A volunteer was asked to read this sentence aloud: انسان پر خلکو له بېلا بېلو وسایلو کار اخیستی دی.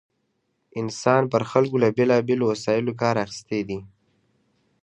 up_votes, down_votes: 2, 0